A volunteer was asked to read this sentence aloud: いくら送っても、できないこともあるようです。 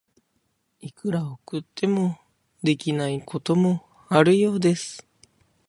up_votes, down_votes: 2, 1